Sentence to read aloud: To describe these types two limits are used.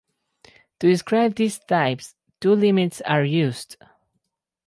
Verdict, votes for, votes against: accepted, 4, 0